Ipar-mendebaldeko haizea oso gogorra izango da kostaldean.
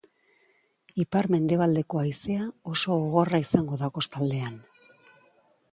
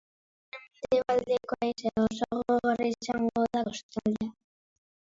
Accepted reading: first